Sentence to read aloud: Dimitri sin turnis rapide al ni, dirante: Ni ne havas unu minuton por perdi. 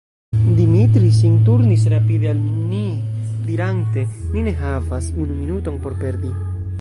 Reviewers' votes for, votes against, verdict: 1, 3, rejected